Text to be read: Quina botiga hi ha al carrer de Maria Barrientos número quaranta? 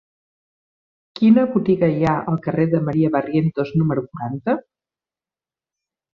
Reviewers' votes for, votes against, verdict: 0, 2, rejected